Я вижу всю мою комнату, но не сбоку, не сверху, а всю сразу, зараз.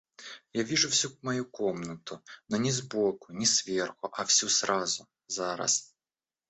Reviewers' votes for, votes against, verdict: 1, 2, rejected